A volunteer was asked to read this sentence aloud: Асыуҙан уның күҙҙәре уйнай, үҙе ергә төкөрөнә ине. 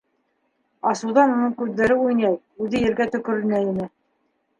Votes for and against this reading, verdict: 1, 2, rejected